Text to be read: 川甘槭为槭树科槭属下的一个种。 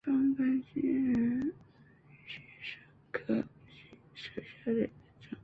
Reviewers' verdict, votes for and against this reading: rejected, 0, 3